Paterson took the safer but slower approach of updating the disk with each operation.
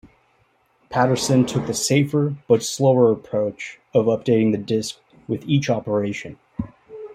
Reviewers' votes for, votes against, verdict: 2, 0, accepted